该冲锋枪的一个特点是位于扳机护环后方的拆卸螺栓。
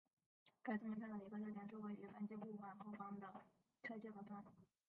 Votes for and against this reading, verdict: 0, 2, rejected